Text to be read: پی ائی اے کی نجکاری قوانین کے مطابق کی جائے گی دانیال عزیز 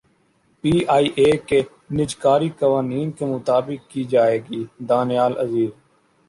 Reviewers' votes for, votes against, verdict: 2, 0, accepted